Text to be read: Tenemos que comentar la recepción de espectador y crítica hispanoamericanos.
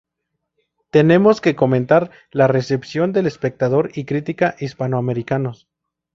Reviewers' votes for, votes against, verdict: 0, 2, rejected